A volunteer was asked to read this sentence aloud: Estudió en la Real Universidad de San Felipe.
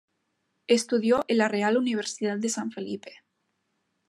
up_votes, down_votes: 0, 2